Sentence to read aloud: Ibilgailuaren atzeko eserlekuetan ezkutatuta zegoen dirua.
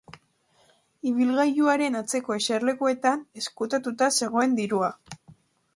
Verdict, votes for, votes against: accepted, 3, 0